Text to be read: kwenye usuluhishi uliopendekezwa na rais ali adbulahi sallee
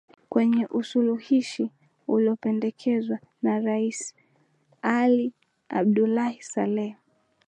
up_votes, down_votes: 2, 0